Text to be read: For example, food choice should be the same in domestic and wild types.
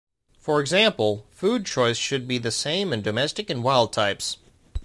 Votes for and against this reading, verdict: 2, 0, accepted